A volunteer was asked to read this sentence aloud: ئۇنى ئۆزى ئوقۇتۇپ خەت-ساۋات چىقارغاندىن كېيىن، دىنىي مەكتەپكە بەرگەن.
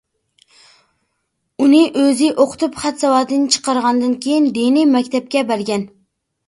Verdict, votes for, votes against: rejected, 0, 2